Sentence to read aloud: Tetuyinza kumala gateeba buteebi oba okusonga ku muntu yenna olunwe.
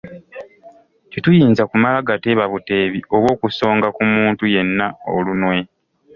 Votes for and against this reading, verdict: 2, 1, accepted